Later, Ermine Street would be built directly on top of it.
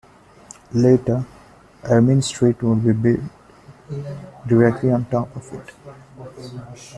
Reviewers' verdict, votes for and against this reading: rejected, 1, 2